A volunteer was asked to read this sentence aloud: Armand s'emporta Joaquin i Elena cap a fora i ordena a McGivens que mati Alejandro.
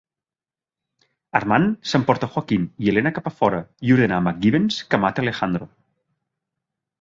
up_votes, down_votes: 1, 2